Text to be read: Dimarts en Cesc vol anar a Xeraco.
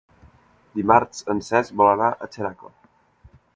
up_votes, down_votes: 4, 0